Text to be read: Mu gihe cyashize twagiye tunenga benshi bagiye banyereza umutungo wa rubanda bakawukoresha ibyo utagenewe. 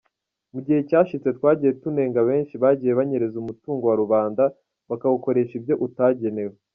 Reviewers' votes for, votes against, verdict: 2, 0, accepted